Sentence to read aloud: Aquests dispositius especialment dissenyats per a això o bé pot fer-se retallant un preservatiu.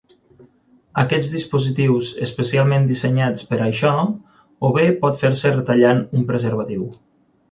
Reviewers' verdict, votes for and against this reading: accepted, 6, 0